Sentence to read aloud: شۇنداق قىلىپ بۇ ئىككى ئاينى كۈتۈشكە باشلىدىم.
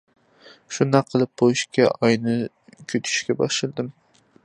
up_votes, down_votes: 2, 0